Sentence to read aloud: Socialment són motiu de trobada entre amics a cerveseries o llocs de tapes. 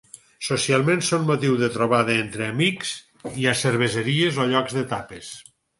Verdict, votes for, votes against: rejected, 0, 4